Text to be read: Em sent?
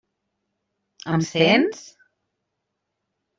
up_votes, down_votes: 0, 2